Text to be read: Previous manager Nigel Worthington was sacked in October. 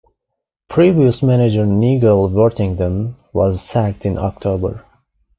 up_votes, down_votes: 1, 2